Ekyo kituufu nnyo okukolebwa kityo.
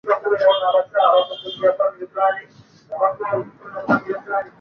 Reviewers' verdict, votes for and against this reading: rejected, 0, 2